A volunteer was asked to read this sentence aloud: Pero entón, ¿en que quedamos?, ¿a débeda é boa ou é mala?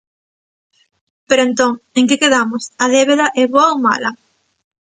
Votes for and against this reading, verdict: 1, 2, rejected